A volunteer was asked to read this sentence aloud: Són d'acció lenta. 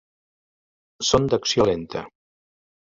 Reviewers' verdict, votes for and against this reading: accepted, 3, 0